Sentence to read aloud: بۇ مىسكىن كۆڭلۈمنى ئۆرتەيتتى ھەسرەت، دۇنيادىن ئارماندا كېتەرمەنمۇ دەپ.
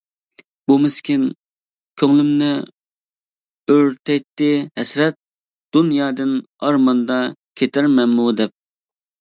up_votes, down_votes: 2, 0